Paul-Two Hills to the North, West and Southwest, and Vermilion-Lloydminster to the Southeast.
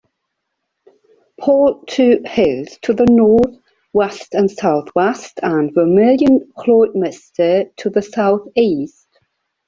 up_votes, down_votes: 0, 2